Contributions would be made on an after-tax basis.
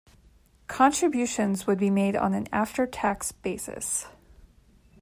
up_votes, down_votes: 2, 0